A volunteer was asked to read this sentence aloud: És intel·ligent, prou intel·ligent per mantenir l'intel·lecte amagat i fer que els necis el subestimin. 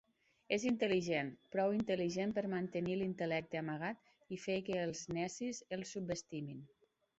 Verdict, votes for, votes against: accepted, 3, 0